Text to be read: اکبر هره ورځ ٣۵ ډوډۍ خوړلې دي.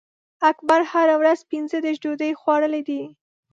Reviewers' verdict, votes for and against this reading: rejected, 0, 2